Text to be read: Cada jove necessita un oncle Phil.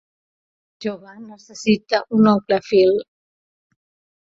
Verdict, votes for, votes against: rejected, 0, 2